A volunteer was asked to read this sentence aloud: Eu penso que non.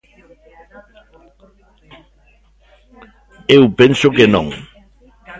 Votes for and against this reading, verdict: 1, 2, rejected